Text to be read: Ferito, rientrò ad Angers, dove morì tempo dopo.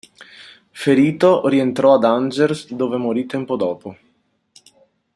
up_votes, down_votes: 2, 1